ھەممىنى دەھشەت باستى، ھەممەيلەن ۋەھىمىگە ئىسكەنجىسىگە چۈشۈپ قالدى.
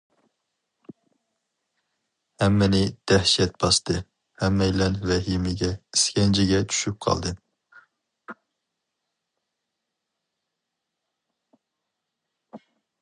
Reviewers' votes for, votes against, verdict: 2, 2, rejected